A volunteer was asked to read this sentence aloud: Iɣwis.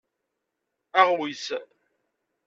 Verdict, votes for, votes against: rejected, 1, 2